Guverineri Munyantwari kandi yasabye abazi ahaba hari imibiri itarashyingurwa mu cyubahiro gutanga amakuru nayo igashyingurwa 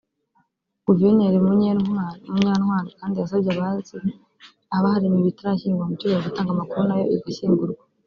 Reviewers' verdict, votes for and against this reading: rejected, 0, 2